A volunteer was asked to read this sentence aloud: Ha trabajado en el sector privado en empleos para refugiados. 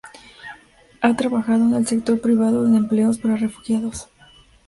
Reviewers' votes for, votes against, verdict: 2, 0, accepted